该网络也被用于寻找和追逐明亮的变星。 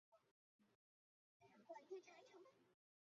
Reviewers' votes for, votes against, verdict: 0, 2, rejected